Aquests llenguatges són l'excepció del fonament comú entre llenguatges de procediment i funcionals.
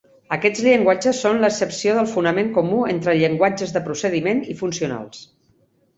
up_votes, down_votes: 4, 0